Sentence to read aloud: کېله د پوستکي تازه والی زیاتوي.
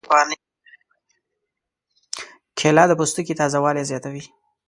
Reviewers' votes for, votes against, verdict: 1, 2, rejected